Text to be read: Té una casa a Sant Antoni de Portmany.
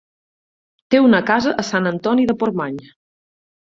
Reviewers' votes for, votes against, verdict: 4, 0, accepted